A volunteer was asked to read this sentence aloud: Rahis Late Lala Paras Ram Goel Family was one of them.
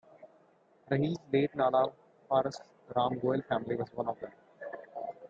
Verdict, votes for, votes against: rejected, 0, 2